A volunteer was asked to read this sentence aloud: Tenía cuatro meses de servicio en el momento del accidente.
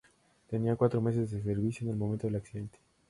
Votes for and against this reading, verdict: 2, 0, accepted